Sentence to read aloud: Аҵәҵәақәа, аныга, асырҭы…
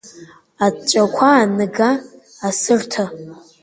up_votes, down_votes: 2, 1